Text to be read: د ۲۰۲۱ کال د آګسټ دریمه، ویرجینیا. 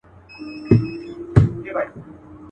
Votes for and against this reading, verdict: 0, 2, rejected